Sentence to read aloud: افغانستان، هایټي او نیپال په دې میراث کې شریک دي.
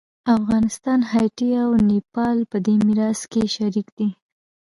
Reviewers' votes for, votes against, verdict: 0, 2, rejected